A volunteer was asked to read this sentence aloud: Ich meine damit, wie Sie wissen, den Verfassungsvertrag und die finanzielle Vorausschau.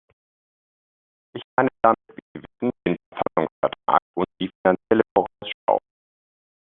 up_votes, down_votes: 0, 2